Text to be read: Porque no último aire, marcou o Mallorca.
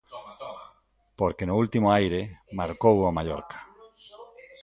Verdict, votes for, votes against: accepted, 2, 1